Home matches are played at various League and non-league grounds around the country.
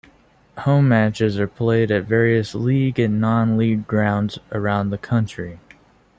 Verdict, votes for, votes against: accepted, 2, 0